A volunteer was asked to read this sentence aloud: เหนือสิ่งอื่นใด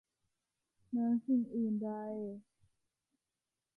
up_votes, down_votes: 2, 1